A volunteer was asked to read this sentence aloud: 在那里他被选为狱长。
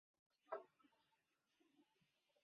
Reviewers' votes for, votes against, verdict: 1, 2, rejected